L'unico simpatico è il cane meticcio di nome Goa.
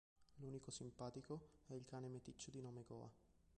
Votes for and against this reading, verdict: 1, 3, rejected